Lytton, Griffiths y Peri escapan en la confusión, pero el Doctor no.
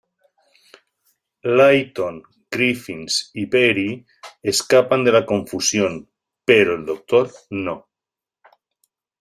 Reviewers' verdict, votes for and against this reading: rejected, 0, 2